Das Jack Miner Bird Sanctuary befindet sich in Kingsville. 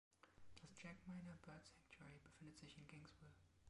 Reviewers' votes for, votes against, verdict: 1, 2, rejected